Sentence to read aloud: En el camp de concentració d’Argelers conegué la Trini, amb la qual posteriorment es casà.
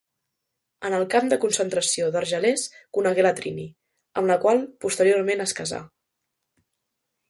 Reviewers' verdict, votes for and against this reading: accepted, 2, 0